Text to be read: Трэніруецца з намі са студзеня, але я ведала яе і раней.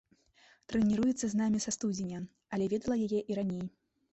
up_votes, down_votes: 1, 2